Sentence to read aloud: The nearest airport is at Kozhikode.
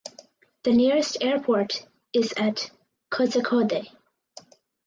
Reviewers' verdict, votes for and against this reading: accepted, 4, 0